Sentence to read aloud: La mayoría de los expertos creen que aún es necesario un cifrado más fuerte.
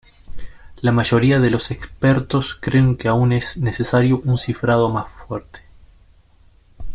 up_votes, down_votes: 2, 0